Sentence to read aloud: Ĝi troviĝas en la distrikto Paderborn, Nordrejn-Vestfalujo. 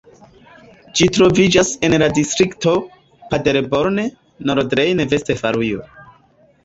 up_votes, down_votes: 0, 2